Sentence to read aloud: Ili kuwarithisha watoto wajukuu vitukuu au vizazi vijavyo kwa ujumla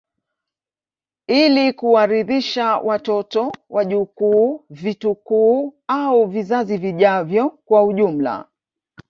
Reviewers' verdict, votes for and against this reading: accepted, 2, 1